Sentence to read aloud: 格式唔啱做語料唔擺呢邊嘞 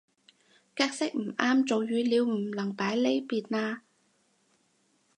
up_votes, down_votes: 0, 4